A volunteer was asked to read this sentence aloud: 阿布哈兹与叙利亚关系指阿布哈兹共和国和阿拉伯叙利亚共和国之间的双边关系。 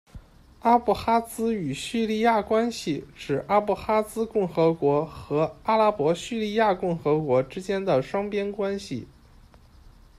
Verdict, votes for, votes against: accepted, 2, 0